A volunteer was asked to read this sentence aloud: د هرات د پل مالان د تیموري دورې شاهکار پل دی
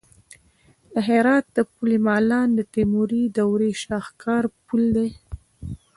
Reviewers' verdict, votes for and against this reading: accepted, 2, 0